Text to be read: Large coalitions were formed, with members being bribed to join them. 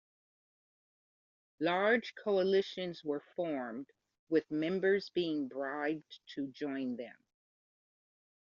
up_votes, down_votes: 2, 0